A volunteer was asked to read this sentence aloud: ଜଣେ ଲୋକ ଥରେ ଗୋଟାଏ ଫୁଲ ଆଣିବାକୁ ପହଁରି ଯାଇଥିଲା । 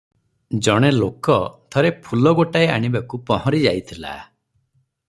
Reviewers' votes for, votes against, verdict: 0, 6, rejected